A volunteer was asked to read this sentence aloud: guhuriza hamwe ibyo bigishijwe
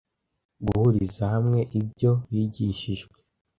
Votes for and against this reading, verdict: 2, 0, accepted